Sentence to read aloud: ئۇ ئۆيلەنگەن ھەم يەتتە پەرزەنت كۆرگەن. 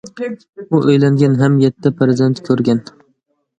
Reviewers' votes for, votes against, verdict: 2, 0, accepted